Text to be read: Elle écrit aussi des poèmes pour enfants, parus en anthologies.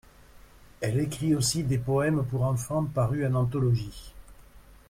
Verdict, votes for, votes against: accepted, 2, 0